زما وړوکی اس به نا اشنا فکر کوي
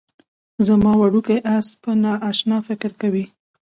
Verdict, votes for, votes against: accepted, 2, 0